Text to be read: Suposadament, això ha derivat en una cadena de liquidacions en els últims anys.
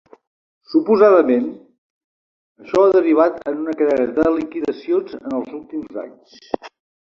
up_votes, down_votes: 2, 1